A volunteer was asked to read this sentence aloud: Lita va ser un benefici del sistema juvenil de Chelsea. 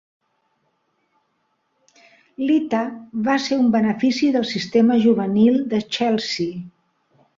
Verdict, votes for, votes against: accepted, 2, 0